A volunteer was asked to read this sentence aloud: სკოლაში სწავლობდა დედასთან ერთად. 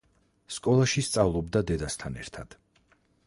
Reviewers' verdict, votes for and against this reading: accepted, 4, 2